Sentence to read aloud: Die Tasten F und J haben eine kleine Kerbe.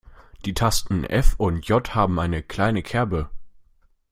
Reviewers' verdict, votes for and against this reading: accepted, 2, 0